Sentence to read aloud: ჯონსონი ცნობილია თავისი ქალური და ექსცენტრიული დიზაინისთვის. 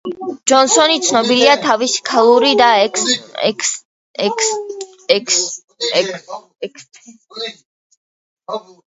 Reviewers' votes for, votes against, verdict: 0, 2, rejected